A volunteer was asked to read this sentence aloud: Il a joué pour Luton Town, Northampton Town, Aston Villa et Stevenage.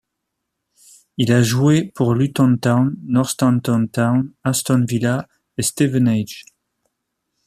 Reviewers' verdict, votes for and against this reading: accepted, 2, 1